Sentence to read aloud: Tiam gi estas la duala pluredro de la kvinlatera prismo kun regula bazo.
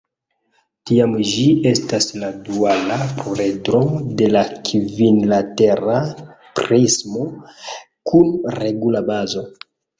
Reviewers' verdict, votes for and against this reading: rejected, 0, 2